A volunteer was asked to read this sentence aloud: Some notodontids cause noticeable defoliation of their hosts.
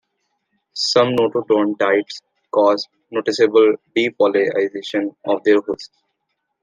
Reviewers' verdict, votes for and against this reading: rejected, 1, 2